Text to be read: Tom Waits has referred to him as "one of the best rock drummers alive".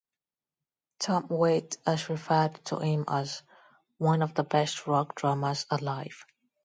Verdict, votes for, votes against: accepted, 2, 0